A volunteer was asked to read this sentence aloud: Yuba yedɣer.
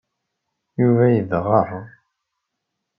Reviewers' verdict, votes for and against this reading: accepted, 2, 0